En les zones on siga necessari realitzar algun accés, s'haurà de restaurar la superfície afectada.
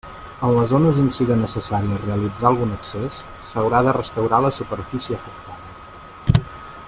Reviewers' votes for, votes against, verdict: 1, 2, rejected